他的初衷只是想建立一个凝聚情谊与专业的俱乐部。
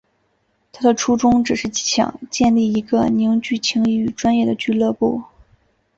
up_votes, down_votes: 3, 0